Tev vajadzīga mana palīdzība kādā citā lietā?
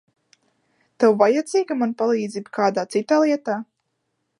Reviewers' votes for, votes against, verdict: 2, 0, accepted